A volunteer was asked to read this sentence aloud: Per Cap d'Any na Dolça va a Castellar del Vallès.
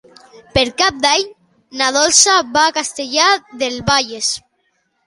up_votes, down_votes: 3, 1